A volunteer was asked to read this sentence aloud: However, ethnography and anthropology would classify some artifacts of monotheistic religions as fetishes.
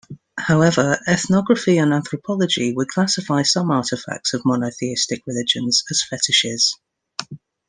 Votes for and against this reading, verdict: 2, 0, accepted